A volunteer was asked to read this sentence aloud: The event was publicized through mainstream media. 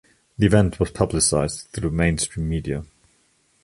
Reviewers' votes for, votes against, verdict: 2, 0, accepted